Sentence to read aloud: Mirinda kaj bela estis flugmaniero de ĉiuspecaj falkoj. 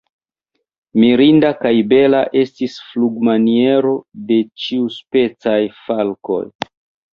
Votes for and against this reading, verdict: 0, 2, rejected